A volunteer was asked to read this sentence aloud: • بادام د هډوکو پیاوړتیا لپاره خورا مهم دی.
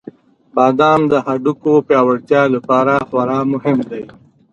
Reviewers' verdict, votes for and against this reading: accepted, 2, 1